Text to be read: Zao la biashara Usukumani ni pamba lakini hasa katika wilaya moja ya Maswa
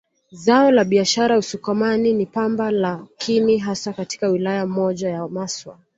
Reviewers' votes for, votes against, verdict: 2, 0, accepted